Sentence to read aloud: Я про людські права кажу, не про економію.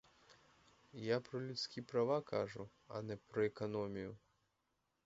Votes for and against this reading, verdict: 0, 4, rejected